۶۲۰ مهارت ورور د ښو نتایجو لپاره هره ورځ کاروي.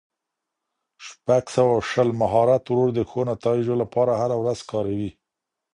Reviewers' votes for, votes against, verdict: 0, 2, rejected